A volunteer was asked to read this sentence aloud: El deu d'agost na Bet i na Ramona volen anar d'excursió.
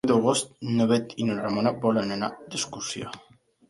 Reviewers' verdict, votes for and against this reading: rejected, 0, 3